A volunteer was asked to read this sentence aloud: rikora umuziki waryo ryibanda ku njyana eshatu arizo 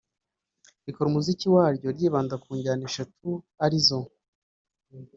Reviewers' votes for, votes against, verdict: 2, 1, accepted